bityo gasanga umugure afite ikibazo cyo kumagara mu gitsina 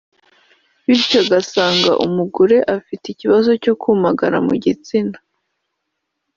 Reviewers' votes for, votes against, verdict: 1, 2, rejected